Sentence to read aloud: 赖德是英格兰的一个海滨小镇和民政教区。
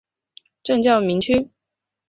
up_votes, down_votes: 0, 2